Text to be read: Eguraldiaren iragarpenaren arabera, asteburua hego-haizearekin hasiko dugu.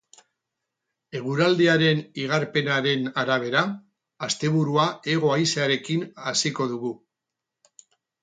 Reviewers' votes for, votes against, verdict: 0, 2, rejected